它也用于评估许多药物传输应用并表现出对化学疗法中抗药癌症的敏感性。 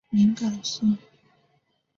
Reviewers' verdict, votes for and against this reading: rejected, 0, 3